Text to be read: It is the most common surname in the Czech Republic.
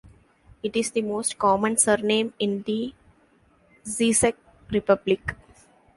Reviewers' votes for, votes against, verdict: 0, 2, rejected